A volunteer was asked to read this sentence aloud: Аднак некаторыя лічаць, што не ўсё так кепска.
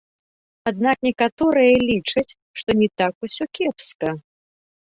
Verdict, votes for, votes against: rejected, 1, 2